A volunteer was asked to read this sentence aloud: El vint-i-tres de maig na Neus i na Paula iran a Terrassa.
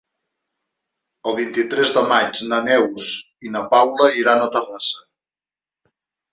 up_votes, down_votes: 4, 0